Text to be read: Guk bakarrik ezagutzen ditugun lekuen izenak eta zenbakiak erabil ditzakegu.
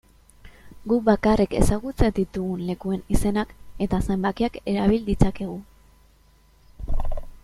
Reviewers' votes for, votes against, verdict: 2, 0, accepted